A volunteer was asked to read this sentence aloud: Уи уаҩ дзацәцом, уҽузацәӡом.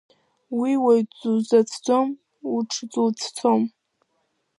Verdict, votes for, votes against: rejected, 1, 2